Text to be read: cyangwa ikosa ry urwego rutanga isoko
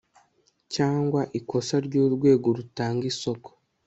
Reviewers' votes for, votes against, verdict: 2, 0, accepted